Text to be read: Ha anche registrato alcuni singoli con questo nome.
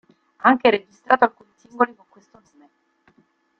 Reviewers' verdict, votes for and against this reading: rejected, 0, 3